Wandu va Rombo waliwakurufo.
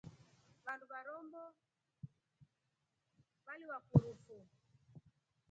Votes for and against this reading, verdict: 1, 3, rejected